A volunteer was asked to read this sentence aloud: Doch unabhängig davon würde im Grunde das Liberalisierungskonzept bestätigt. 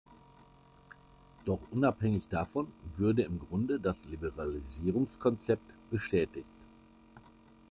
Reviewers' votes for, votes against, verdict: 2, 0, accepted